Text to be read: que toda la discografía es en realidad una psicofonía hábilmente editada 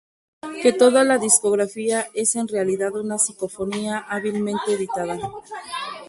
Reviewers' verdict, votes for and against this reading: rejected, 0, 2